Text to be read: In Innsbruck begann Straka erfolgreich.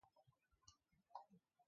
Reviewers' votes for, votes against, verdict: 0, 2, rejected